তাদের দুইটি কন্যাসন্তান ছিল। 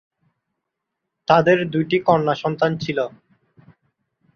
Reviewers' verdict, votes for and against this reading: accepted, 2, 0